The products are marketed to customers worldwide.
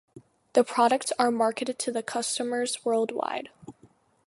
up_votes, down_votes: 2, 0